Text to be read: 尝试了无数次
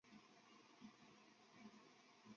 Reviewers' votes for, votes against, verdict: 1, 7, rejected